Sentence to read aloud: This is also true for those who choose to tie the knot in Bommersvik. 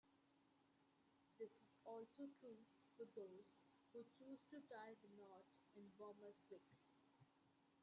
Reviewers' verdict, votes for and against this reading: rejected, 0, 2